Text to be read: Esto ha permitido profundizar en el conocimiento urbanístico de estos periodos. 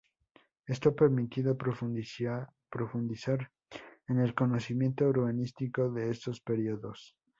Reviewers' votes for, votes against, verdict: 0, 2, rejected